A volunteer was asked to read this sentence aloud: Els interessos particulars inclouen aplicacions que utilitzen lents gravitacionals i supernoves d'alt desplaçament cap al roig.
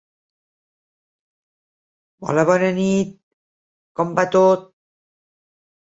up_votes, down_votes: 0, 2